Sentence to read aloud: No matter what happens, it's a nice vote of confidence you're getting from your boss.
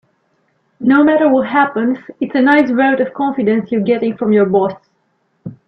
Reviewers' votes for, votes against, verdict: 0, 2, rejected